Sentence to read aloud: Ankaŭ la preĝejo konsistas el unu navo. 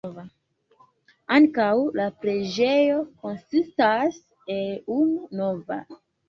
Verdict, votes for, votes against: rejected, 0, 2